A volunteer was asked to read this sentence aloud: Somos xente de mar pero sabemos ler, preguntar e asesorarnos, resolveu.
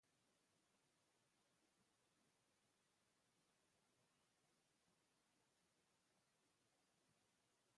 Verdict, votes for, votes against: rejected, 0, 2